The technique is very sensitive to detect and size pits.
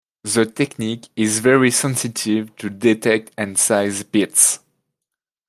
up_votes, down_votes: 2, 0